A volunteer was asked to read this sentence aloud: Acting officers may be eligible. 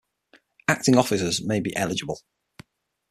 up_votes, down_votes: 6, 0